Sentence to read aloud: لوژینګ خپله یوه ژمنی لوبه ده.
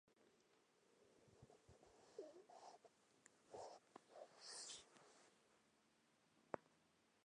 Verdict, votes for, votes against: rejected, 0, 2